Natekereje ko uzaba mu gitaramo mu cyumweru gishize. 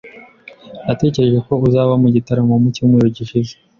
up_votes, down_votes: 2, 0